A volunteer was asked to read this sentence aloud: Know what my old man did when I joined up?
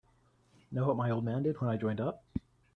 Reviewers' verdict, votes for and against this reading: accepted, 3, 0